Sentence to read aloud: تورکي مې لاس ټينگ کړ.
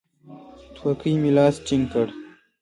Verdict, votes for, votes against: accepted, 2, 1